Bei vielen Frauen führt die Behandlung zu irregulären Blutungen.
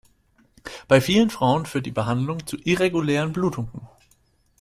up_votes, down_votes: 2, 0